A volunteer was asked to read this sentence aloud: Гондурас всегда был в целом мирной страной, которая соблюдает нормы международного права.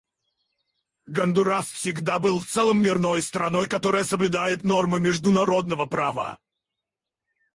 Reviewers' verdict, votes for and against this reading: rejected, 2, 4